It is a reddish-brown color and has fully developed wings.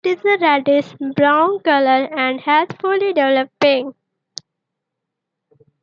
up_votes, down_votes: 1, 2